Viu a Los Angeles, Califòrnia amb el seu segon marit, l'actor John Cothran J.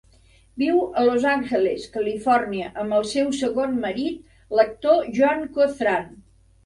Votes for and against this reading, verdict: 1, 2, rejected